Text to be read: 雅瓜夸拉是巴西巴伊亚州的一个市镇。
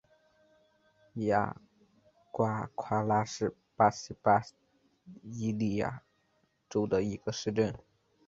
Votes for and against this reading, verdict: 1, 2, rejected